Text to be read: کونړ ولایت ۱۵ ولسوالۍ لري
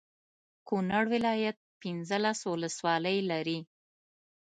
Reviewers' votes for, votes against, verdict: 0, 2, rejected